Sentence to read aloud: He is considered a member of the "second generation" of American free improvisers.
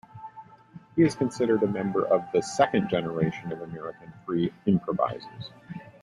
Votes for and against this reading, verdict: 2, 1, accepted